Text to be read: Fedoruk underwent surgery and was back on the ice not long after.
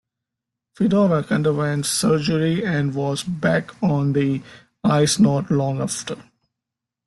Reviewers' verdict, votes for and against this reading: accepted, 2, 0